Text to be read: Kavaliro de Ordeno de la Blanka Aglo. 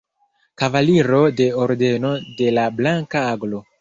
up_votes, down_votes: 1, 2